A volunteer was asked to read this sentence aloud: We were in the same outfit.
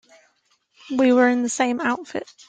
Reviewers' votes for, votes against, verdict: 2, 0, accepted